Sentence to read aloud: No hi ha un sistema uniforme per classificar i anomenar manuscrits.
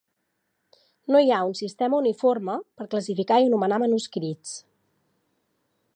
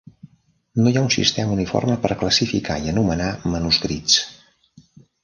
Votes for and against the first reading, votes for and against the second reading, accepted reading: 6, 0, 1, 2, first